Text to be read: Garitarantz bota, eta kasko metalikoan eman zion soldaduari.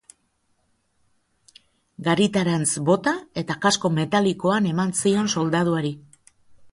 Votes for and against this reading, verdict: 2, 0, accepted